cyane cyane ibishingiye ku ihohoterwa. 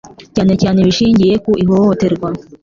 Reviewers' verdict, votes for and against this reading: accepted, 2, 0